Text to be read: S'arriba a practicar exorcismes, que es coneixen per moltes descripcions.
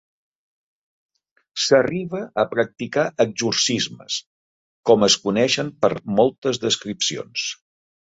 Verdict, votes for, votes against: rejected, 0, 2